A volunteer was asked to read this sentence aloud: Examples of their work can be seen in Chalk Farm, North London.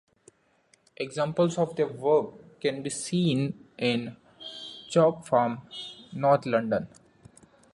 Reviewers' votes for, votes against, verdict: 2, 0, accepted